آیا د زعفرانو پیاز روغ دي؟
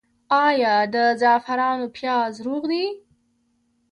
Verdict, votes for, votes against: accepted, 3, 0